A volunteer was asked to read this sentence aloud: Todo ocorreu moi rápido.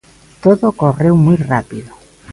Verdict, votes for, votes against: rejected, 0, 2